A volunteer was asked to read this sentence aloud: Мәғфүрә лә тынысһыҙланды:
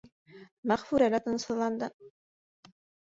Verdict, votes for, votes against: rejected, 1, 3